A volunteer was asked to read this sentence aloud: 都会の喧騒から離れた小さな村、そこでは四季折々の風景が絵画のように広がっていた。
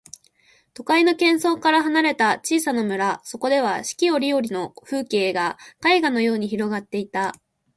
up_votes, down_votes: 2, 0